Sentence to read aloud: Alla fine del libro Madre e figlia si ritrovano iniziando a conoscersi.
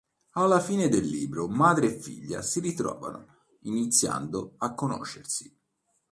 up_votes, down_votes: 2, 0